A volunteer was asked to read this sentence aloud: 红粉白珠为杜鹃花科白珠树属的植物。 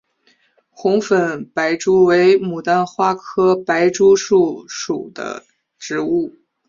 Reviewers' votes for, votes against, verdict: 0, 3, rejected